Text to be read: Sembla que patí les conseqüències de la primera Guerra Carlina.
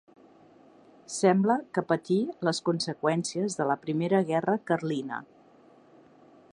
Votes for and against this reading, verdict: 2, 0, accepted